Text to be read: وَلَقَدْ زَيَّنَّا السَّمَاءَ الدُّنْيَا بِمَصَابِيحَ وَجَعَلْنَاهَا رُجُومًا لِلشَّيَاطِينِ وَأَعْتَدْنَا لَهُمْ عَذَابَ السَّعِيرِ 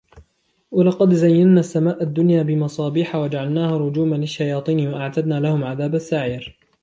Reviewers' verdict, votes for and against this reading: accepted, 2, 0